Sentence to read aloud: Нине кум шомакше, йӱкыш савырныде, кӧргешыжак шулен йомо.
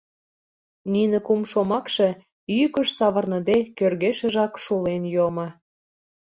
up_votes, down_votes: 2, 0